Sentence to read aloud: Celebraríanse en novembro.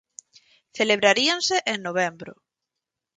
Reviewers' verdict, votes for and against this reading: accepted, 4, 0